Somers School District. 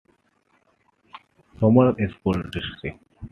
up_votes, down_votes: 2, 1